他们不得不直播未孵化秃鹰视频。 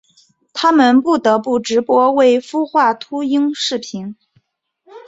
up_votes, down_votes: 2, 0